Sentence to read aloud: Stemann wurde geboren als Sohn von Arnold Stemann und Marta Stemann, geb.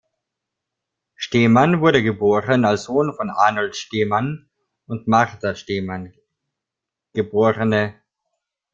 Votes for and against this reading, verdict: 2, 1, accepted